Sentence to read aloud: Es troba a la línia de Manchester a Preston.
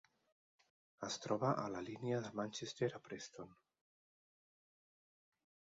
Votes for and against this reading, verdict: 3, 0, accepted